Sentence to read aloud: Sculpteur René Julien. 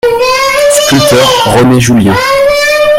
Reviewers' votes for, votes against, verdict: 0, 2, rejected